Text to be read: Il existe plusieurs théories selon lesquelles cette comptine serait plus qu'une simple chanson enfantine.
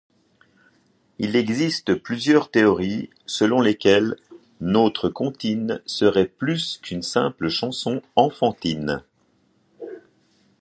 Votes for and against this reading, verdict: 1, 2, rejected